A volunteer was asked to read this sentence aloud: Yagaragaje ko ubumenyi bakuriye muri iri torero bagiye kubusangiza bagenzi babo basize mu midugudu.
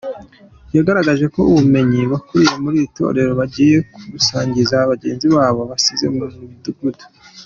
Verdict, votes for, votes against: accepted, 2, 0